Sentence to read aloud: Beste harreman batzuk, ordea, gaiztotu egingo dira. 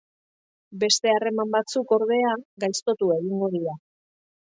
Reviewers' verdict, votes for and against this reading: rejected, 1, 2